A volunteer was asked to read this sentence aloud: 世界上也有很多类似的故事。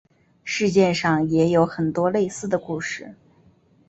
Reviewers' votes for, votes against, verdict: 6, 0, accepted